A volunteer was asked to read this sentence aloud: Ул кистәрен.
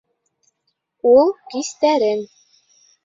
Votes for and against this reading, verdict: 2, 0, accepted